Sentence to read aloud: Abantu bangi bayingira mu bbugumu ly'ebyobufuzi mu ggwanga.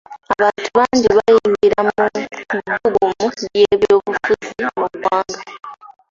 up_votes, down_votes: 1, 2